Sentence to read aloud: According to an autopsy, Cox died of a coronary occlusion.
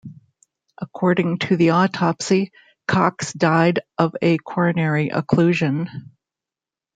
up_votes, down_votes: 0, 2